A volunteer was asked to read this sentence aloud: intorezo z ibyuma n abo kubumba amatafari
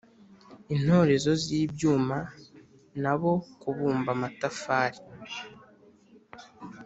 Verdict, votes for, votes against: accepted, 3, 0